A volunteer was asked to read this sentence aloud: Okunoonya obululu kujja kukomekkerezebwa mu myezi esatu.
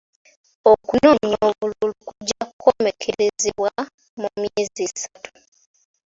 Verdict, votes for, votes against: accepted, 3, 2